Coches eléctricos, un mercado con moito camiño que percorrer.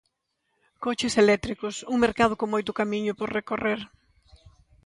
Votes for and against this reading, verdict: 0, 2, rejected